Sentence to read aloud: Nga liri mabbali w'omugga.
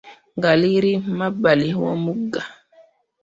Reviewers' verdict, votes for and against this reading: rejected, 0, 2